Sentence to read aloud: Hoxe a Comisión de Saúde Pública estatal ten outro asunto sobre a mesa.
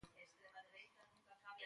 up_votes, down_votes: 0, 2